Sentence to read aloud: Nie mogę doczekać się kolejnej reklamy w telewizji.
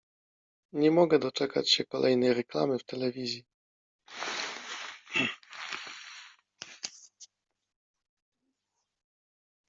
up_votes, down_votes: 0, 2